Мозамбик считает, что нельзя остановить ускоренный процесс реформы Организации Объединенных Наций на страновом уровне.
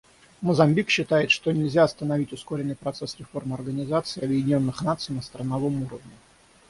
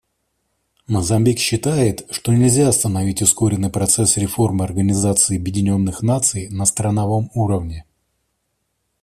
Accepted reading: second